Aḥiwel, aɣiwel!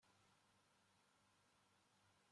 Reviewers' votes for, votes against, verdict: 0, 2, rejected